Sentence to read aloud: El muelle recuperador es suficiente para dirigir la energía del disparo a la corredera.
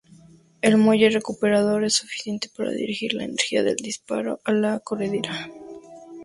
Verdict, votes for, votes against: rejected, 2, 4